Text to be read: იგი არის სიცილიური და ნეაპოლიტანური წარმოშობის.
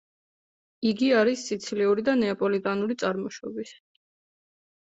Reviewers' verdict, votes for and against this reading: accepted, 2, 0